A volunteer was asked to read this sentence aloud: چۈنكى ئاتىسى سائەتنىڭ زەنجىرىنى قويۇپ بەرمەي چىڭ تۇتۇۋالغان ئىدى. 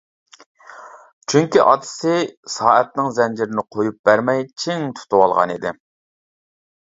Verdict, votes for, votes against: accepted, 2, 0